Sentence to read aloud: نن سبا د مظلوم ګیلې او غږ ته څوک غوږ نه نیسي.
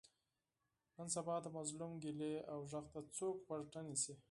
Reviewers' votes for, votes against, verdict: 2, 4, rejected